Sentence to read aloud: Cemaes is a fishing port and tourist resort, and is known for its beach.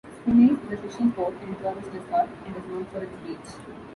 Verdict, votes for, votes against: rejected, 0, 2